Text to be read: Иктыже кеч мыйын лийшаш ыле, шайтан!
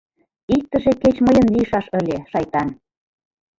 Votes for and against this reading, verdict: 0, 2, rejected